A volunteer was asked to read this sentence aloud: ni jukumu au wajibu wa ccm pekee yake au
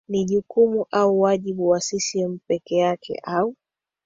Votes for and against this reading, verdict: 2, 1, accepted